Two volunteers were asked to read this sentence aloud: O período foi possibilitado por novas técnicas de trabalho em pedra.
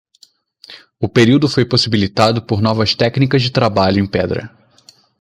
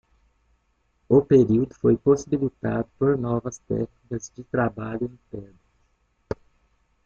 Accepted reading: first